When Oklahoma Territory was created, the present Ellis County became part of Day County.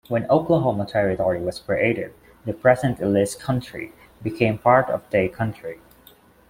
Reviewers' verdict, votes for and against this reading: accepted, 2, 0